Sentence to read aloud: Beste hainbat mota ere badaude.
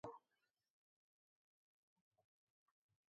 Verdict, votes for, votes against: rejected, 0, 2